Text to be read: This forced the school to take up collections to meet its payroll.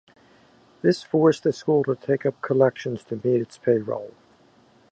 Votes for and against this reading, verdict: 2, 0, accepted